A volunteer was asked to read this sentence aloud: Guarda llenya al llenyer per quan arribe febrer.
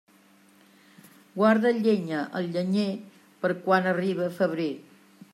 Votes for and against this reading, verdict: 2, 0, accepted